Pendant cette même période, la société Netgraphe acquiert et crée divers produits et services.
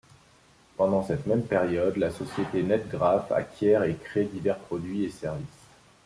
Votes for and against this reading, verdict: 2, 0, accepted